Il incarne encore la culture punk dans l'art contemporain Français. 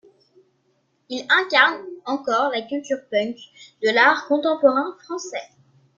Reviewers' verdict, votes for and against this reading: rejected, 0, 2